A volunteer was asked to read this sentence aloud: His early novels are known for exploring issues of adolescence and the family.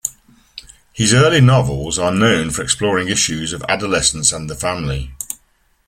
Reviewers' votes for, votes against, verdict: 2, 0, accepted